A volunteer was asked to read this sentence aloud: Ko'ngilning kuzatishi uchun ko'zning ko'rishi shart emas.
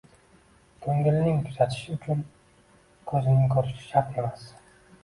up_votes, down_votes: 2, 0